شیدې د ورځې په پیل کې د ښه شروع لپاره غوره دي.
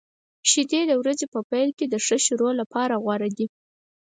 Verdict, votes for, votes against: accepted, 6, 0